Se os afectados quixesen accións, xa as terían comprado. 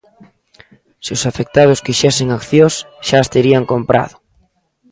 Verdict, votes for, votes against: accepted, 2, 0